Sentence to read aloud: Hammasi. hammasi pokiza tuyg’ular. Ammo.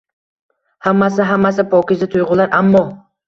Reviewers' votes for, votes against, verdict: 1, 2, rejected